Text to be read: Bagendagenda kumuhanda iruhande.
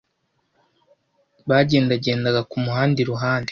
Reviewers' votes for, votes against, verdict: 1, 2, rejected